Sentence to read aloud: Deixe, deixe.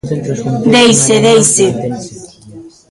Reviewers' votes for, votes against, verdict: 1, 2, rejected